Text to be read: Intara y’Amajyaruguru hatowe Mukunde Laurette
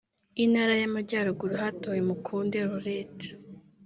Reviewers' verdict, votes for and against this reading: rejected, 1, 2